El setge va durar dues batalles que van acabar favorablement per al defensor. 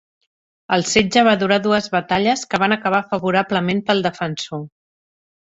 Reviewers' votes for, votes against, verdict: 1, 2, rejected